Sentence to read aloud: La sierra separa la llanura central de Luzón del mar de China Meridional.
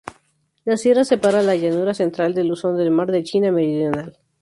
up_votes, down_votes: 2, 0